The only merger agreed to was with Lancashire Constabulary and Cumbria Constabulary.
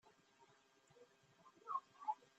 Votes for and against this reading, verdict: 0, 2, rejected